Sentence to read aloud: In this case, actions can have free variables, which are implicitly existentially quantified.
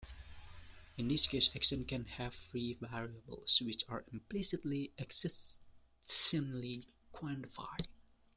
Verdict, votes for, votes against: rejected, 1, 2